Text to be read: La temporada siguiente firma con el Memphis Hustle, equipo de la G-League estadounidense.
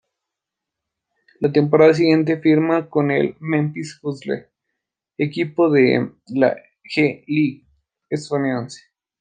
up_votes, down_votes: 0, 2